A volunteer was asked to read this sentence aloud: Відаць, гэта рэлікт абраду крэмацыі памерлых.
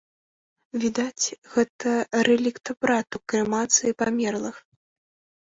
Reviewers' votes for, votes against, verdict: 2, 0, accepted